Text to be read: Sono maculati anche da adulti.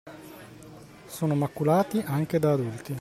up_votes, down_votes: 2, 1